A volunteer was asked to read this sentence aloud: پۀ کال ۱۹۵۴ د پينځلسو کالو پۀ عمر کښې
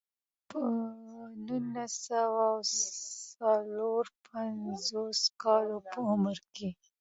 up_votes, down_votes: 0, 2